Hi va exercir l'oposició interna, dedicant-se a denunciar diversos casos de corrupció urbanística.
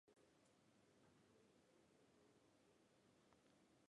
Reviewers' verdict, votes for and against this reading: rejected, 0, 2